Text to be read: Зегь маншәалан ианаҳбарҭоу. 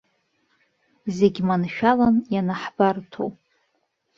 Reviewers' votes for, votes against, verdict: 2, 0, accepted